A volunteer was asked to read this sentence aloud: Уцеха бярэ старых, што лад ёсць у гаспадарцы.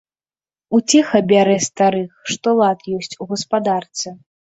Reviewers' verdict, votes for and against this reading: accepted, 2, 0